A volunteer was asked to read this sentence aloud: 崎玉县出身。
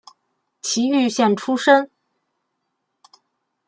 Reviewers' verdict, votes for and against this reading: accepted, 2, 0